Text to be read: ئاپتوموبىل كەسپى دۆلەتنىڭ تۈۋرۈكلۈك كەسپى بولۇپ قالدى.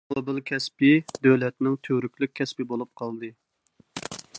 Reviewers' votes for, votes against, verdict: 0, 2, rejected